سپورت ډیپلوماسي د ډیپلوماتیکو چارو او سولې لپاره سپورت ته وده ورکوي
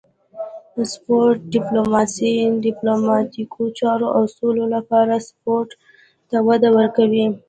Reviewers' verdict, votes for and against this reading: rejected, 0, 2